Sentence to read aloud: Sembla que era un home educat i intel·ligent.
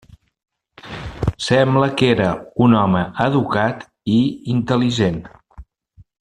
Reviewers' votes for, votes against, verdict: 3, 0, accepted